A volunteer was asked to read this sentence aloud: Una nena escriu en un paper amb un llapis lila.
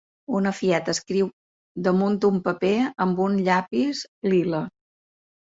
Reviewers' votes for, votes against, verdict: 1, 2, rejected